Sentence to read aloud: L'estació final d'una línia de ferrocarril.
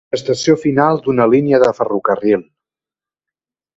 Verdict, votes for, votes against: rejected, 0, 2